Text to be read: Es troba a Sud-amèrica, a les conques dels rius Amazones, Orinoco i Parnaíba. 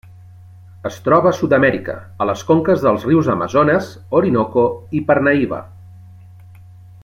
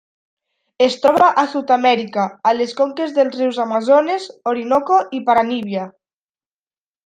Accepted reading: first